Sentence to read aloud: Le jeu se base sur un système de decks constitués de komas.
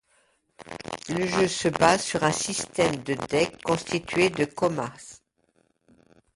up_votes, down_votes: 1, 2